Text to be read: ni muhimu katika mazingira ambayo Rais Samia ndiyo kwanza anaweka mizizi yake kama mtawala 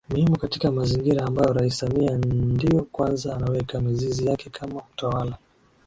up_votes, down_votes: 9, 5